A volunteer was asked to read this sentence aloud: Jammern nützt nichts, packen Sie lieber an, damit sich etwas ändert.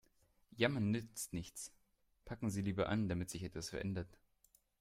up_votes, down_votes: 1, 2